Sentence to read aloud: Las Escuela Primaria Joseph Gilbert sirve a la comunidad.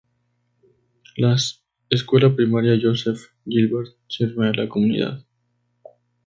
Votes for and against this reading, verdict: 0, 2, rejected